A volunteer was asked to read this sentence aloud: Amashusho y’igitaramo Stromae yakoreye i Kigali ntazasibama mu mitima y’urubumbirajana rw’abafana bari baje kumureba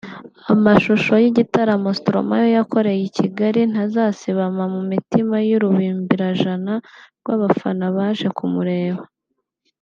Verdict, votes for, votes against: rejected, 0, 2